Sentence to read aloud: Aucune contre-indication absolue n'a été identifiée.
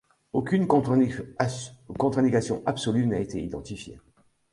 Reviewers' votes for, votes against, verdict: 0, 2, rejected